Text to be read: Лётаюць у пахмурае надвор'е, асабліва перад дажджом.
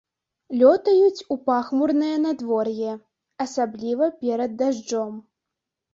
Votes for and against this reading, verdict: 1, 2, rejected